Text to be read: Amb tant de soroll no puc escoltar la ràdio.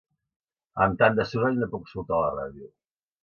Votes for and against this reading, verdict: 2, 0, accepted